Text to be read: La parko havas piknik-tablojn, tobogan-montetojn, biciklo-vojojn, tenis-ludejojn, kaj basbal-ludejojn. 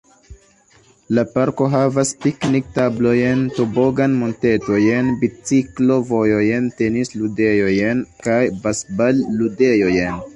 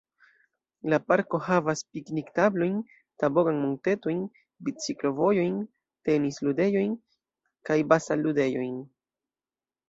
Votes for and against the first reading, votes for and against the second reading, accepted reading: 2, 0, 1, 2, first